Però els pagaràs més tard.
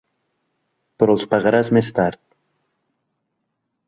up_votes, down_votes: 3, 0